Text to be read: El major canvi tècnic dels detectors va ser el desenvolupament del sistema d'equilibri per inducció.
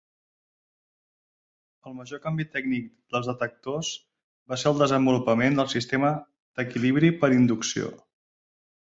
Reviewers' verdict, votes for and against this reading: accepted, 4, 0